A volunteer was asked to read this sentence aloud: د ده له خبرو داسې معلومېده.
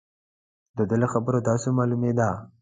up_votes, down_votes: 3, 0